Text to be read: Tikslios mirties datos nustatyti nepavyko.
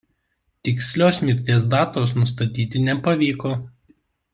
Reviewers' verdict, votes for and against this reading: accepted, 2, 0